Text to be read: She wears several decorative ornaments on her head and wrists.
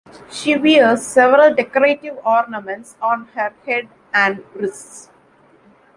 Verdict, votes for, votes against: accepted, 3, 2